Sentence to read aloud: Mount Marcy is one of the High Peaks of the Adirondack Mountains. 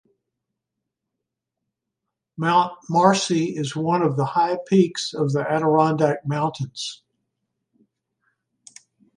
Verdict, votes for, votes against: accepted, 2, 0